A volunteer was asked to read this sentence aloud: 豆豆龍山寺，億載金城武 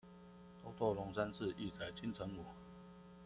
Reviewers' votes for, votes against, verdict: 1, 2, rejected